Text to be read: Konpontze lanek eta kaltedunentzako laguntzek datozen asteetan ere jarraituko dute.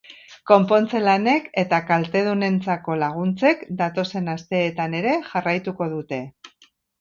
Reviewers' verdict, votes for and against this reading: accepted, 2, 0